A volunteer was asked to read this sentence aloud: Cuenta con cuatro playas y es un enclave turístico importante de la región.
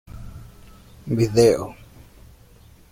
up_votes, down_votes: 0, 2